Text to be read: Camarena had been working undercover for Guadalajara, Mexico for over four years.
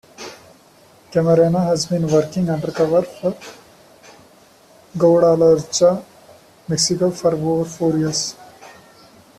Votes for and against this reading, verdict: 1, 2, rejected